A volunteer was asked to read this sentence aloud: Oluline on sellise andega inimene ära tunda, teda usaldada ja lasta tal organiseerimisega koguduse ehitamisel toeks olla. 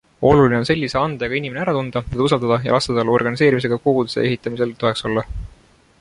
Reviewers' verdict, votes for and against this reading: accepted, 2, 0